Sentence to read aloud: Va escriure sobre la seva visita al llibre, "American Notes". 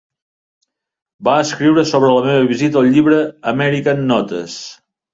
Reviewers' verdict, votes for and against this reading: rejected, 0, 2